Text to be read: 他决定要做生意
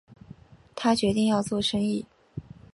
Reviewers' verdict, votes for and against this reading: accepted, 3, 1